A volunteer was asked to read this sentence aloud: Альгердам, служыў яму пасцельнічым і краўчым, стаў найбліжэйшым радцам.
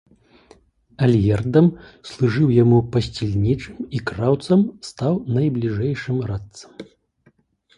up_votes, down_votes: 0, 2